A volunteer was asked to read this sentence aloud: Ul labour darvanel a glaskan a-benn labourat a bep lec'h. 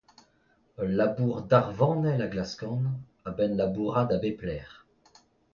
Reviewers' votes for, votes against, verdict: 2, 0, accepted